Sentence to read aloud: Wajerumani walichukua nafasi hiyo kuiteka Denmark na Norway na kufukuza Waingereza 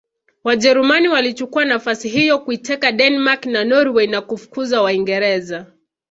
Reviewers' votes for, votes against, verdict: 1, 2, rejected